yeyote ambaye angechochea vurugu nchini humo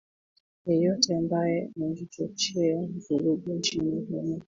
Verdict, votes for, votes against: rejected, 1, 2